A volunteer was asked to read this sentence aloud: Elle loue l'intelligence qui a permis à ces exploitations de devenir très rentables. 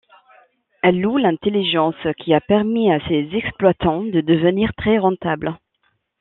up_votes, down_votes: 1, 2